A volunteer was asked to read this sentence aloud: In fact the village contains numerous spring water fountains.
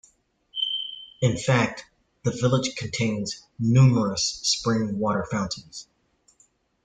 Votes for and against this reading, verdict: 2, 0, accepted